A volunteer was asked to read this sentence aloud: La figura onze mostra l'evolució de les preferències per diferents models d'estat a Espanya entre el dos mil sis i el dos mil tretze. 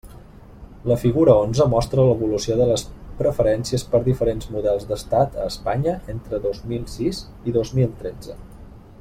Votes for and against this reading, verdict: 0, 2, rejected